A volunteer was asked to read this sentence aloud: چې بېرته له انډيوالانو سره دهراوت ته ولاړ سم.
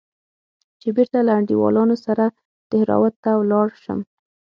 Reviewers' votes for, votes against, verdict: 0, 6, rejected